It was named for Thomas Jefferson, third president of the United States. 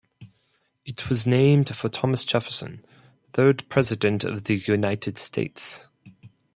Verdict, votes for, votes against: accepted, 4, 0